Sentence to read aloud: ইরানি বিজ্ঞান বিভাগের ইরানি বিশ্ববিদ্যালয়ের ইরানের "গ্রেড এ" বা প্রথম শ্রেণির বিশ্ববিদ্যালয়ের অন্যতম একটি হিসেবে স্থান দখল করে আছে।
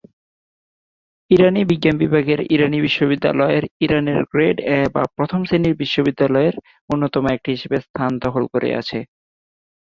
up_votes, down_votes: 11, 1